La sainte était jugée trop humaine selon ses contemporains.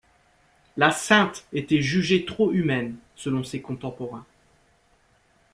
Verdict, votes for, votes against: accepted, 2, 0